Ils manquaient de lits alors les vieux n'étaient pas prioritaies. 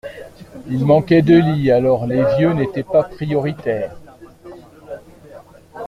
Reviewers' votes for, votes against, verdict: 1, 2, rejected